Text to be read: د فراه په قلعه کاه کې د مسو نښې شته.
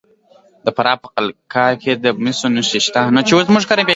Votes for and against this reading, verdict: 2, 0, accepted